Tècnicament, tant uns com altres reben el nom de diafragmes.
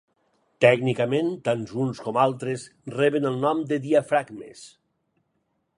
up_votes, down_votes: 4, 0